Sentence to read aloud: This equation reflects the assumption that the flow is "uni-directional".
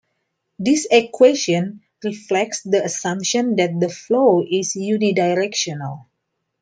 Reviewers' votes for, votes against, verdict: 2, 0, accepted